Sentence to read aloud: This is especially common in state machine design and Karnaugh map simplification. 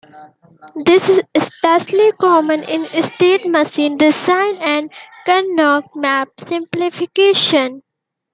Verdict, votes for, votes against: rejected, 0, 2